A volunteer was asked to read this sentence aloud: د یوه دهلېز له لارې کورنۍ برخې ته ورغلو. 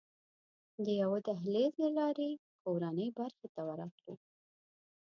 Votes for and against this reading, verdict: 2, 0, accepted